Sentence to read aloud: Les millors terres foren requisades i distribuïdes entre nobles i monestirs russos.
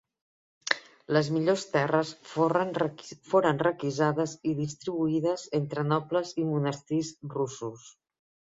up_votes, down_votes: 0, 2